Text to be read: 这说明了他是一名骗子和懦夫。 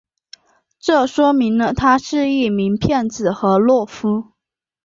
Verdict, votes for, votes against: accepted, 2, 0